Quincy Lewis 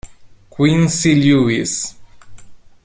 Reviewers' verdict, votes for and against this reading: accepted, 2, 0